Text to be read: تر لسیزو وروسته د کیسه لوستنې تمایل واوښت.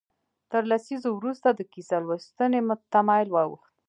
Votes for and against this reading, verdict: 1, 2, rejected